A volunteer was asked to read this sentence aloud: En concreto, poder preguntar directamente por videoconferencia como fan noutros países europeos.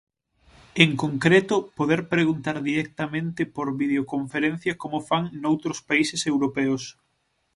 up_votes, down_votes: 6, 0